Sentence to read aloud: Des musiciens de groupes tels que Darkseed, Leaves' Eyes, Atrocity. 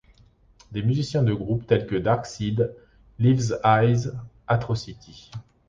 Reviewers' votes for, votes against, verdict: 2, 0, accepted